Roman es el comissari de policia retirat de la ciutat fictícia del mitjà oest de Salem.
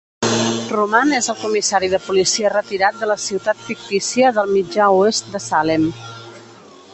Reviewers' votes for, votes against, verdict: 0, 2, rejected